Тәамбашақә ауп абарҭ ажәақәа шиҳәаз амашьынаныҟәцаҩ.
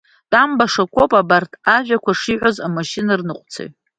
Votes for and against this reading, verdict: 2, 0, accepted